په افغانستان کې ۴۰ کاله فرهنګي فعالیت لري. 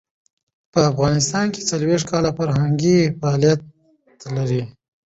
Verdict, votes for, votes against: rejected, 0, 2